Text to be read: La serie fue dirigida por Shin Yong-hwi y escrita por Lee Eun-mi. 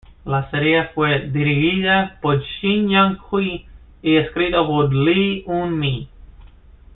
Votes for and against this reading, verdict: 2, 0, accepted